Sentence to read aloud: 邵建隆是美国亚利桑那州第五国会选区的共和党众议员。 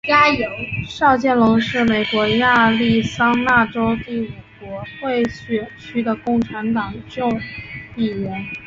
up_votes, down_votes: 0, 2